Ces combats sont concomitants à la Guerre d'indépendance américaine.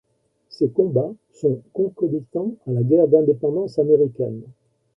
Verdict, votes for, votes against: accepted, 2, 0